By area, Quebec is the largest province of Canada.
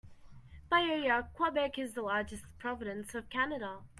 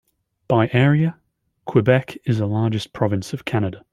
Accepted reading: second